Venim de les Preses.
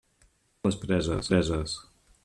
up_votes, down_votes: 0, 2